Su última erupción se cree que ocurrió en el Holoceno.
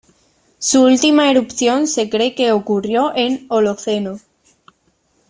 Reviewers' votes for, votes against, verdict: 0, 2, rejected